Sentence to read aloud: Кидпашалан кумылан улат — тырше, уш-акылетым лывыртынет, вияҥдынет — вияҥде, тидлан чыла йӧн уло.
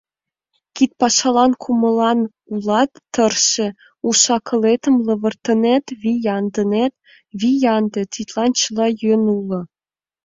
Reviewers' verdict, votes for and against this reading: accepted, 2, 0